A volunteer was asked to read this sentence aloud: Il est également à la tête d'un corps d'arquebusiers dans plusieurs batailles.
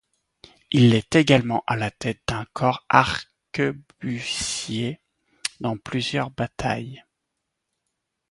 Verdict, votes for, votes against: rejected, 0, 2